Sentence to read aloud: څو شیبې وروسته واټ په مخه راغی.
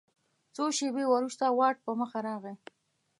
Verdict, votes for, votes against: accepted, 2, 0